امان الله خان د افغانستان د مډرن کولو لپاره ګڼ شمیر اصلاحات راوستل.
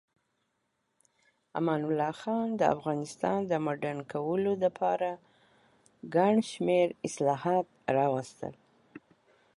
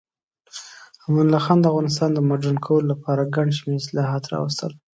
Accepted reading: second